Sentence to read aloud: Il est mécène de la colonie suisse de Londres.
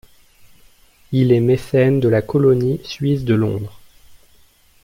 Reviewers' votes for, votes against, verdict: 3, 1, accepted